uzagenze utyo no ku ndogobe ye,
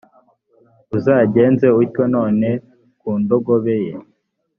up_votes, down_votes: 0, 2